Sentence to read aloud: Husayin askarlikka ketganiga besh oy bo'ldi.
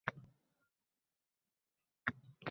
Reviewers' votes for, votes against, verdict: 0, 2, rejected